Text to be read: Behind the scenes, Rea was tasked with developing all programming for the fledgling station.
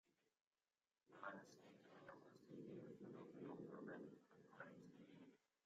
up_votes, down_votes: 0, 2